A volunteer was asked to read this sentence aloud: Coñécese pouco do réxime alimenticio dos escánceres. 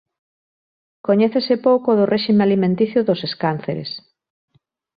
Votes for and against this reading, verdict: 2, 0, accepted